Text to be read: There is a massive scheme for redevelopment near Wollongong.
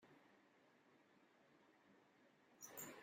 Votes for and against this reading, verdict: 0, 2, rejected